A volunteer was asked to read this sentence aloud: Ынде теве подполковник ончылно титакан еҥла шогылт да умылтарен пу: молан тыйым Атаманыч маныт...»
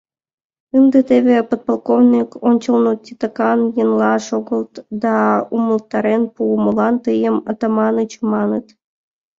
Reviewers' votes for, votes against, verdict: 2, 1, accepted